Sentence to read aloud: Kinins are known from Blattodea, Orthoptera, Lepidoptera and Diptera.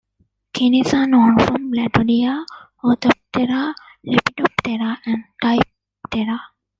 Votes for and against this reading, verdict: 0, 2, rejected